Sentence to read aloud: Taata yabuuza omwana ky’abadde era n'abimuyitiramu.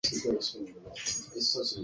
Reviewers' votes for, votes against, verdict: 0, 2, rejected